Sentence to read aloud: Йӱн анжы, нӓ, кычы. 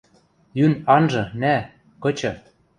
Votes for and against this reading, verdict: 2, 0, accepted